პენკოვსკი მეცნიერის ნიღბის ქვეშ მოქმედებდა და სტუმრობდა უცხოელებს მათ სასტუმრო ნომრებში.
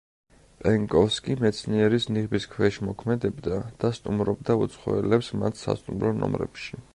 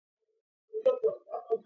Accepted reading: first